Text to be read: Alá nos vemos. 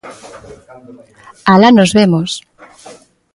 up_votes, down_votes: 2, 0